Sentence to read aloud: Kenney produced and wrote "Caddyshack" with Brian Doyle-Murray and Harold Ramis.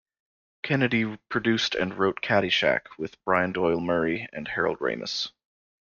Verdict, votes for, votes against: accepted, 2, 1